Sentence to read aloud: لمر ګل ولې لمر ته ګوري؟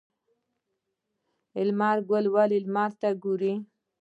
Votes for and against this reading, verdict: 1, 2, rejected